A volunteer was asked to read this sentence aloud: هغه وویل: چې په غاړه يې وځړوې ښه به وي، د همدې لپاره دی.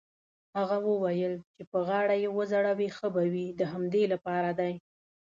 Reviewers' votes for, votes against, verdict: 2, 0, accepted